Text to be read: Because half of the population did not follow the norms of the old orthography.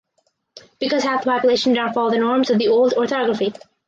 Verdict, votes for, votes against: rejected, 0, 2